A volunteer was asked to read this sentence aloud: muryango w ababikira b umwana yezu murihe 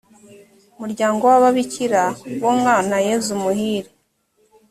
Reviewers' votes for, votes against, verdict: 1, 2, rejected